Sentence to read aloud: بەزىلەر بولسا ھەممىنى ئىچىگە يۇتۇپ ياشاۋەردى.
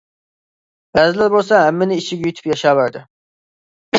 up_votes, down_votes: 2, 1